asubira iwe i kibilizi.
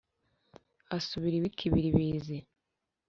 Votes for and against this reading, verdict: 2, 0, accepted